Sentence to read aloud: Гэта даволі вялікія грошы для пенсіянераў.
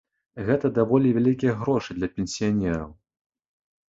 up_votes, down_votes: 2, 0